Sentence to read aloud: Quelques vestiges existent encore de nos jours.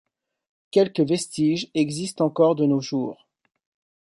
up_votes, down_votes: 2, 0